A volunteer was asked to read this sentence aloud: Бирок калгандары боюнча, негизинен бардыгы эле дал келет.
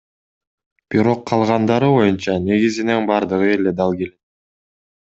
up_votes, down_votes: 1, 2